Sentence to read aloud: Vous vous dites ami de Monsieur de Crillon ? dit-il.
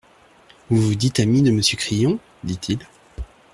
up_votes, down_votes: 1, 2